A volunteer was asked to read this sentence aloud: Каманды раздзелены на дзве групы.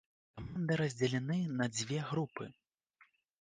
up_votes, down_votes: 0, 2